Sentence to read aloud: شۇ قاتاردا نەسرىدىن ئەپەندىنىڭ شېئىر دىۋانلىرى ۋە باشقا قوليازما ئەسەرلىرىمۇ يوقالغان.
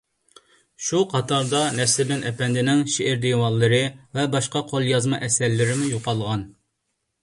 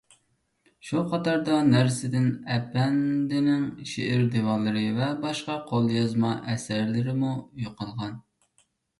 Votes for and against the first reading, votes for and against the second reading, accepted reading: 2, 0, 0, 2, first